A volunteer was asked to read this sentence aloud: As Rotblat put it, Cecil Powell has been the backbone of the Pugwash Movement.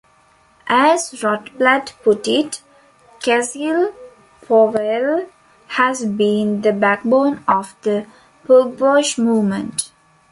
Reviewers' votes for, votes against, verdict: 2, 1, accepted